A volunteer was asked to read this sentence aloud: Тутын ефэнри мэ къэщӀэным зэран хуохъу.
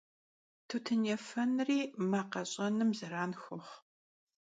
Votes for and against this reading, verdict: 2, 0, accepted